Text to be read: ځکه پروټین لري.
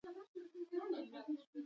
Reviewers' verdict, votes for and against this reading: rejected, 1, 2